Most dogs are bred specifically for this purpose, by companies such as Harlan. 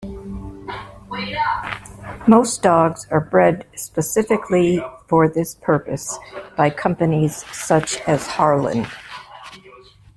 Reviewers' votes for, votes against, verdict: 2, 0, accepted